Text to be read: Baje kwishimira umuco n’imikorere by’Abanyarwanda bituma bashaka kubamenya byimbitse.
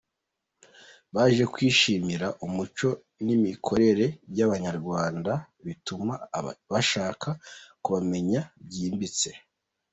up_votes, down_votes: 1, 2